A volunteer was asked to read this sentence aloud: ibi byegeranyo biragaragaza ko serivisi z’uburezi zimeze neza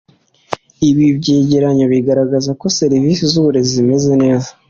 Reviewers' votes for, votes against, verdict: 2, 0, accepted